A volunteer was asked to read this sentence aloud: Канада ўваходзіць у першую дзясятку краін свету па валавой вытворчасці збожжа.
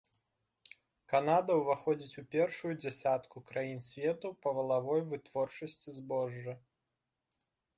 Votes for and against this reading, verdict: 2, 0, accepted